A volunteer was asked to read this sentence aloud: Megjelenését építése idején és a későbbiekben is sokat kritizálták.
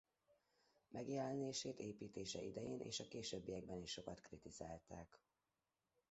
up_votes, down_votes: 0, 2